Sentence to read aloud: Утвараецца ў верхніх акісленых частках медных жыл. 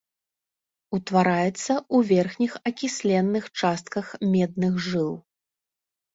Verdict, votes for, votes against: rejected, 1, 2